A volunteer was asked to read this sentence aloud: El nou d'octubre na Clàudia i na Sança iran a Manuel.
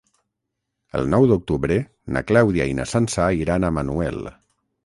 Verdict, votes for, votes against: rejected, 3, 3